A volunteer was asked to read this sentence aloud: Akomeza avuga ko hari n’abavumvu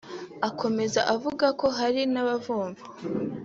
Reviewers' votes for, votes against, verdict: 4, 0, accepted